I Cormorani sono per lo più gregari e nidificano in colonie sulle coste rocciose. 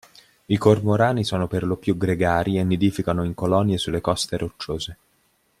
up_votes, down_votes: 2, 0